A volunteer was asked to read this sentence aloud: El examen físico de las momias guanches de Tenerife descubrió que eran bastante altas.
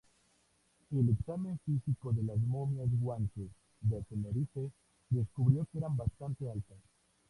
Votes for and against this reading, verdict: 0, 2, rejected